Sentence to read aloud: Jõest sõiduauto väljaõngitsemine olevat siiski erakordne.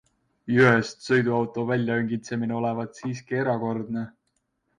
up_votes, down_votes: 2, 0